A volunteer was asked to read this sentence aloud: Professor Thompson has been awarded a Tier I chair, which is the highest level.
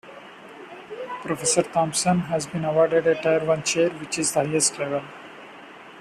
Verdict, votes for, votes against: accepted, 2, 0